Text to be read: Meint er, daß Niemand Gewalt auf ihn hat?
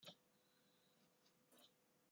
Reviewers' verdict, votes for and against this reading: rejected, 0, 2